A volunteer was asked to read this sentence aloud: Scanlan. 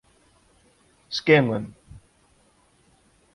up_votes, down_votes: 2, 0